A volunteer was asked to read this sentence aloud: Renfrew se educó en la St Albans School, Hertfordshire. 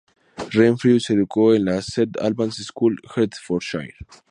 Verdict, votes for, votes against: accepted, 2, 0